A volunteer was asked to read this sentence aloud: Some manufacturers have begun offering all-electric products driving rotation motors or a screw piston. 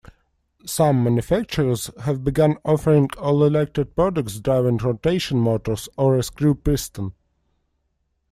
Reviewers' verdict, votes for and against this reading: accepted, 2, 0